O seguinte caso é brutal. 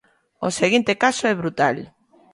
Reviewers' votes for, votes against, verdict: 2, 0, accepted